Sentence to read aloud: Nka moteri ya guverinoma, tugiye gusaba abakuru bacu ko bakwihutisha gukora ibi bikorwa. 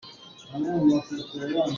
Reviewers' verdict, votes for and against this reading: rejected, 0, 2